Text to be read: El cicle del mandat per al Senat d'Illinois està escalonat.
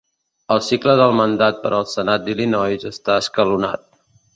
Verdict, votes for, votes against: accepted, 2, 0